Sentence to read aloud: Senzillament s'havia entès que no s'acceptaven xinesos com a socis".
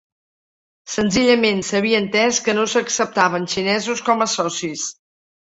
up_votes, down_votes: 2, 0